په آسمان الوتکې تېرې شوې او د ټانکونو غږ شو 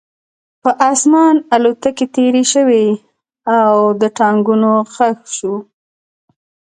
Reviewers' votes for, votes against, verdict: 2, 0, accepted